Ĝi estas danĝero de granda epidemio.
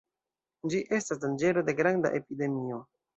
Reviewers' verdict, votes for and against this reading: accepted, 2, 0